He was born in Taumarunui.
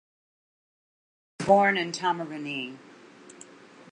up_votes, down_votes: 1, 2